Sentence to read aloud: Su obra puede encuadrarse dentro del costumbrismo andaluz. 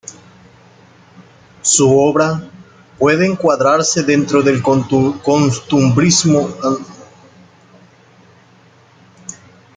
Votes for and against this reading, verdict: 0, 2, rejected